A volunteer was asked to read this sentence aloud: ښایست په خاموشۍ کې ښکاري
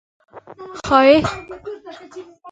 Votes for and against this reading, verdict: 0, 2, rejected